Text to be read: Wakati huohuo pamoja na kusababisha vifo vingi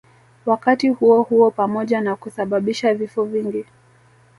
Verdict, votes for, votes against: rejected, 0, 2